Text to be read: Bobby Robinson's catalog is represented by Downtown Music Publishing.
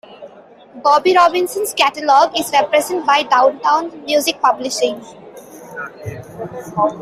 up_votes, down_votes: 2, 0